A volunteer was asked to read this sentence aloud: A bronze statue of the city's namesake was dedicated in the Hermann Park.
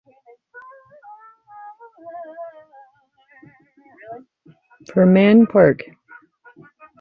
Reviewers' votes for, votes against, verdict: 0, 2, rejected